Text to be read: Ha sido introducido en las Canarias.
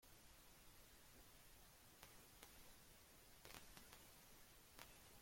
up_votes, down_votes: 0, 2